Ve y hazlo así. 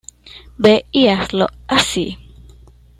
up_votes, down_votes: 2, 0